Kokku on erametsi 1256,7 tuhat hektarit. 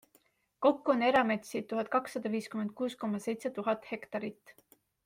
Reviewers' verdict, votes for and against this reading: rejected, 0, 2